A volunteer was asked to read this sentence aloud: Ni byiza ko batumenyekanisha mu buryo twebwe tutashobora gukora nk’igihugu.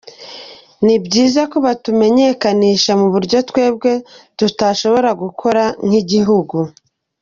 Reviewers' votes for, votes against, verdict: 2, 1, accepted